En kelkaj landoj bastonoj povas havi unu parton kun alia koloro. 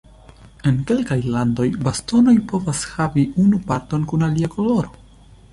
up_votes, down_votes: 2, 0